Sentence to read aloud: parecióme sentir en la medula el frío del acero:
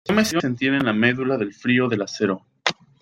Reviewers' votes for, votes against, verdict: 1, 2, rejected